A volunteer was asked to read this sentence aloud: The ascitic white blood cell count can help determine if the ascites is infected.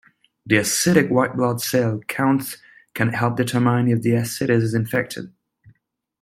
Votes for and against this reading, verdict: 2, 1, accepted